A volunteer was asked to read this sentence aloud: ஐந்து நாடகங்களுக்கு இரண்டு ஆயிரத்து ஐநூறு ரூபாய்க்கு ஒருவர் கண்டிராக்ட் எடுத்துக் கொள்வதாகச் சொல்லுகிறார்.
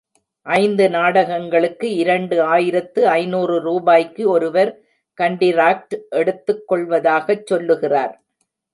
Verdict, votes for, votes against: accepted, 3, 0